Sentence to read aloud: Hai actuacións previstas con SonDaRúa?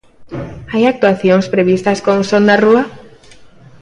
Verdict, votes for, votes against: accepted, 2, 0